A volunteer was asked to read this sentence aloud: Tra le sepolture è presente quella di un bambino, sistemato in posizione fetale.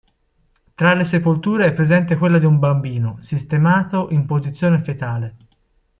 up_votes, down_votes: 2, 0